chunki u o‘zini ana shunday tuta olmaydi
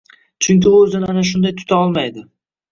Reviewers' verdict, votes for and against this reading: rejected, 1, 2